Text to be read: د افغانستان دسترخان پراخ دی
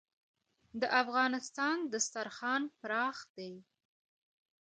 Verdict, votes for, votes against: accepted, 2, 1